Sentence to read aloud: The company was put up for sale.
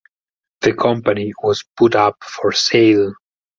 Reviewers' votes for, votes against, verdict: 4, 0, accepted